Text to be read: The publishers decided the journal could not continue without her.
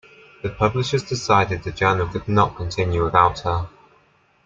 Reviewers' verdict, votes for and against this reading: accepted, 2, 0